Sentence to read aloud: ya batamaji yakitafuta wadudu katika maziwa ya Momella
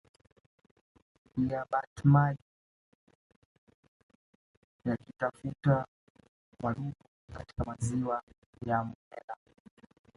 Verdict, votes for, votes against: rejected, 0, 3